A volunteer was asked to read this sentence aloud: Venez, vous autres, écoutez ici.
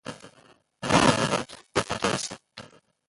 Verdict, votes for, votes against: rejected, 0, 2